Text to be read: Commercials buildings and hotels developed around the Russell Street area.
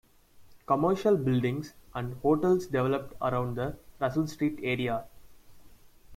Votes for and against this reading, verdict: 0, 2, rejected